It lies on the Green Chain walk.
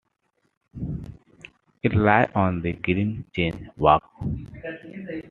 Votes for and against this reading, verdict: 1, 2, rejected